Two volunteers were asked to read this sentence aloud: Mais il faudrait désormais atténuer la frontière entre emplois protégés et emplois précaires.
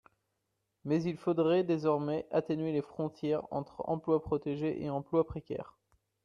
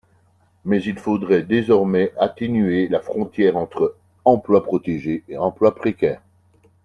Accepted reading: second